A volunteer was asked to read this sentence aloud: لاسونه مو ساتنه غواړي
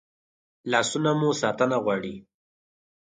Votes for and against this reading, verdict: 4, 0, accepted